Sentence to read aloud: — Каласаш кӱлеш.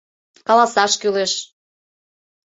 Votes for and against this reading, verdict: 2, 0, accepted